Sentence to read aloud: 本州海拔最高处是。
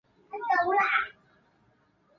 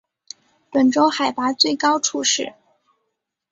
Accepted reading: second